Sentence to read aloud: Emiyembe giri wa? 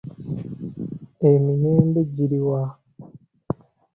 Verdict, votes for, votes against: accepted, 2, 0